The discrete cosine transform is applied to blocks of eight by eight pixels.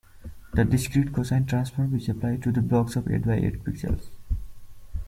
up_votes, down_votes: 1, 2